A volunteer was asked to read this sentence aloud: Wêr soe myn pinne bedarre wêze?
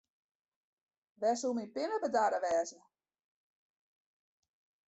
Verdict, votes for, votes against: rejected, 1, 2